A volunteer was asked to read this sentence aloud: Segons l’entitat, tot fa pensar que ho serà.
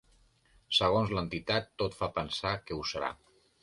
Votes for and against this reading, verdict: 3, 0, accepted